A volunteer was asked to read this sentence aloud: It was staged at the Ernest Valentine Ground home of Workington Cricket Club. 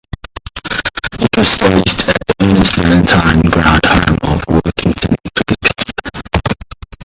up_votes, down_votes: 0, 2